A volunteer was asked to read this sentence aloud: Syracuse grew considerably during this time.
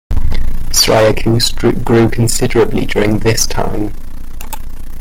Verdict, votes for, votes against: accepted, 2, 1